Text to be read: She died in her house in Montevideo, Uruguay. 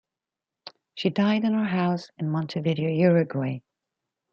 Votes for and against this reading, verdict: 0, 2, rejected